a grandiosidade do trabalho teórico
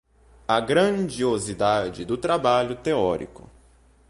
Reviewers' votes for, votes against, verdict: 2, 0, accepted